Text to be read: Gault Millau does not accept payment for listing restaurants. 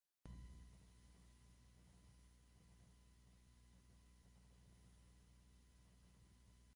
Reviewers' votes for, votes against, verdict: 0, 2, rejected